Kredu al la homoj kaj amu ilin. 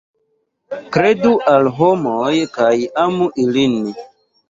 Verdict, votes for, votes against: rejected, 0, 2